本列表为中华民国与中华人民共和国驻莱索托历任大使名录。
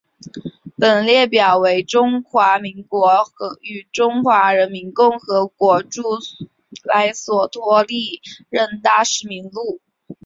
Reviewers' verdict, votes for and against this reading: accepted, 3, 0